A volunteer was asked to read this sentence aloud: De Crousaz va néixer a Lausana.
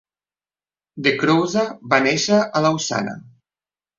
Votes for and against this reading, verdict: 2, 1, accepted